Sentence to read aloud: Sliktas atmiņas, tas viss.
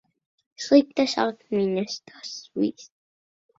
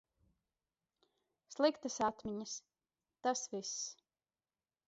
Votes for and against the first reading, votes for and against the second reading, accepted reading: 2, 3, 2, 0, second